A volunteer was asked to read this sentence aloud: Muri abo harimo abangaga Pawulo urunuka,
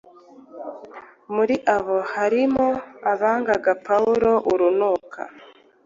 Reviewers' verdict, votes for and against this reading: accepted, 2, 0